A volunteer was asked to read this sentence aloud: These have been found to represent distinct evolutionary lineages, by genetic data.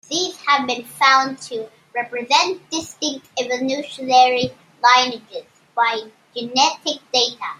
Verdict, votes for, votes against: rejected, 0, 2